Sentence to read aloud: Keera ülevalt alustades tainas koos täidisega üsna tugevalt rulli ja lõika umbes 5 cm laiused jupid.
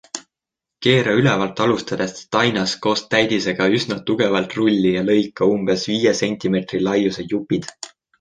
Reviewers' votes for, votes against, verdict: 0, 2, rejected